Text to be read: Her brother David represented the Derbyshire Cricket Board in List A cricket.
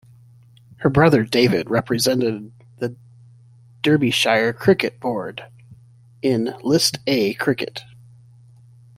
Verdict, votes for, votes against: rejected, 1, 2